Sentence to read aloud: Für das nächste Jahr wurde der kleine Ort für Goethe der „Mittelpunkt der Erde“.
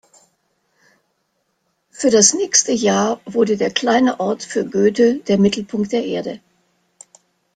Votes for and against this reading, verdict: 2, 0, accepted